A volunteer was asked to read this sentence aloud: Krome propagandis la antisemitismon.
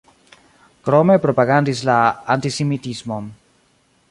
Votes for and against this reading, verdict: 0, 2, rejected